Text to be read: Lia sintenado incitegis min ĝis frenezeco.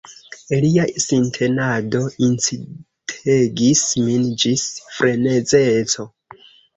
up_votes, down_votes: 2, 0